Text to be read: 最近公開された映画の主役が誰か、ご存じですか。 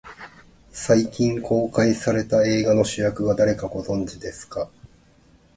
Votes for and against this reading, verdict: 5, 0, accepted